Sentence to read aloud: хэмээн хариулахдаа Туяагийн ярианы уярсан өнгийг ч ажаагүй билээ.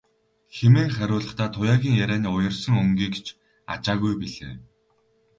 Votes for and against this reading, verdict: 2, 2, rejected